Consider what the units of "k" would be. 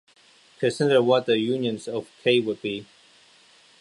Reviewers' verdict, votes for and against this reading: accepted, 2, 0